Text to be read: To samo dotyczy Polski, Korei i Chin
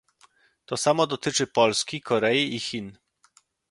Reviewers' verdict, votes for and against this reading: accepted, 2, 0